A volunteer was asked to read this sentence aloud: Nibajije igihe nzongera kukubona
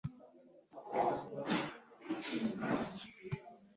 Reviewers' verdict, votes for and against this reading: rejected, 0, 2